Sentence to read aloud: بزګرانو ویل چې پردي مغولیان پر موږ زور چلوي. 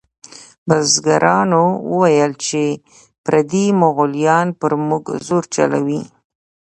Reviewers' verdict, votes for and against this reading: accepted, 2, 0